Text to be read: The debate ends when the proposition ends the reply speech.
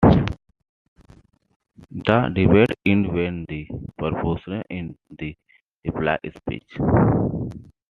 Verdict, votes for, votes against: rejected, 0, 2